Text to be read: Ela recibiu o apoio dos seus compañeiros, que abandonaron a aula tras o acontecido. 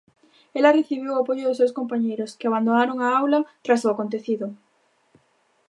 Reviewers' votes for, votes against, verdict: 0, 2, rejected